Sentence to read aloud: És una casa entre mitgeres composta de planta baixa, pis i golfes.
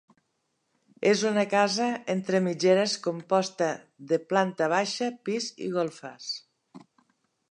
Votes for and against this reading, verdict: 2, 0, accepted